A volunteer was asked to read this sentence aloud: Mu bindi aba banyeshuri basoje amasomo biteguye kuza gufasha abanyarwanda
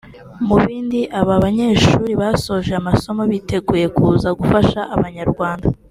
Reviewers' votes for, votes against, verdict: 2, 0, accepted